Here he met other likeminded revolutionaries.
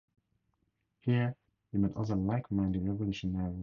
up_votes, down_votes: 2, 8